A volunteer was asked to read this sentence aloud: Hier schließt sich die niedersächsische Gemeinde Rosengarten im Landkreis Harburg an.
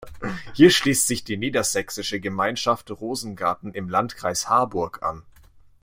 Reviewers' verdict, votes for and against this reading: rejected, 0, 2